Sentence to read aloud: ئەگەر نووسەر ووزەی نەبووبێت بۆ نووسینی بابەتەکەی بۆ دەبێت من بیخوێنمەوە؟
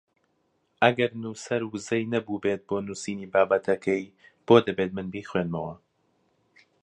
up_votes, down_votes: 2, 0